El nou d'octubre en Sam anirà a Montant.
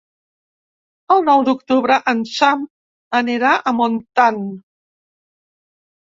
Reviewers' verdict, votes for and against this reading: accepted, 2, 0